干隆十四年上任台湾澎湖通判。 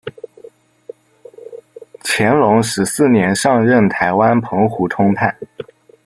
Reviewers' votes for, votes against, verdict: 1, 2, rejected